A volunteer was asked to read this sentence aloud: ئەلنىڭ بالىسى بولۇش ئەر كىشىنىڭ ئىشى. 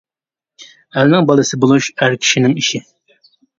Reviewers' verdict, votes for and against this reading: accepted, 2, 0